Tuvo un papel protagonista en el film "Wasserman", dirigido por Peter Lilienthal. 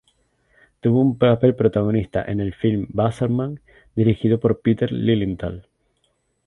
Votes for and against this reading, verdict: 0, 2, rejected